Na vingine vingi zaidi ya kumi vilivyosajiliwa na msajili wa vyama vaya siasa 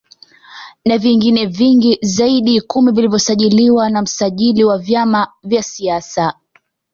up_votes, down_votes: 2, 0